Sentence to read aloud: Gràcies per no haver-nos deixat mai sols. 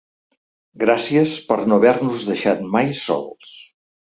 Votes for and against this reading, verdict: 2, 0, accepted